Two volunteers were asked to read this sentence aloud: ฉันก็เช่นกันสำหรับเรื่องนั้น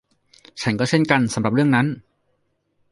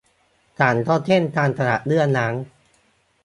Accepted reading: first